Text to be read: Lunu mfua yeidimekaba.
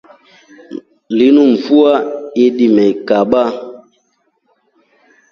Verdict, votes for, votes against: accepted, 2, 1